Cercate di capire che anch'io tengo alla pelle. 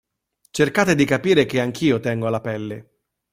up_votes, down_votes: 2, 0